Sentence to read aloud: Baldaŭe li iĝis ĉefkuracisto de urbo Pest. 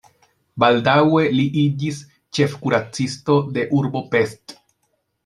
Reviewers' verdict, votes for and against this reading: accepted, 2, 0